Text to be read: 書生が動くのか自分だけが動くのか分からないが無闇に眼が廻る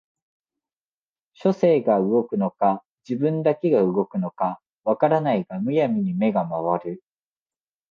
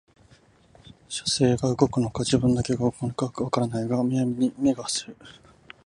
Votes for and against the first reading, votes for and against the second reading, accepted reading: 2, 0, 2, 4, first